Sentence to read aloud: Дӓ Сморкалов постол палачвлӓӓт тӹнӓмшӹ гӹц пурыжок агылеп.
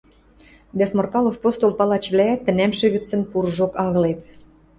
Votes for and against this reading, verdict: 0, 2, rejected